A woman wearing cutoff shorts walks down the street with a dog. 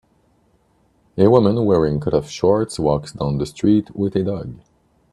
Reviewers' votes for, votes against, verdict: 0, 2, rejected